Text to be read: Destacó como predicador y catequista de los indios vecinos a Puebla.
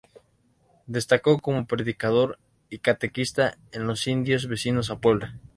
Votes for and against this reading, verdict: 0, 2, rejected